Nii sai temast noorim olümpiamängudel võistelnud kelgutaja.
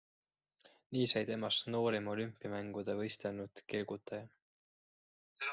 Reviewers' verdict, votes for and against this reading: accepted, 3, 0